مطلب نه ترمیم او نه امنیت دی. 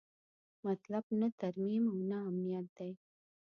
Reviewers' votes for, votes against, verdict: 1, 2, rejected